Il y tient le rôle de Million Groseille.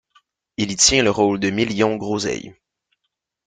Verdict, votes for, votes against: accepted, 2, 0